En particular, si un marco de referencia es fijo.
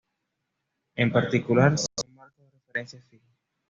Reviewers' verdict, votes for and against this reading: rejected, 1, 2